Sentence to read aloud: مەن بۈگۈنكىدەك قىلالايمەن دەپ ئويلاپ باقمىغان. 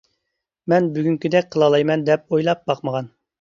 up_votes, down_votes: 2, 0